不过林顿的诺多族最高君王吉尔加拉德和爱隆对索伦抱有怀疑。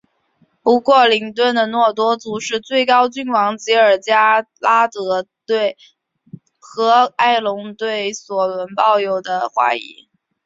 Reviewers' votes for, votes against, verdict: 2, 3, rejected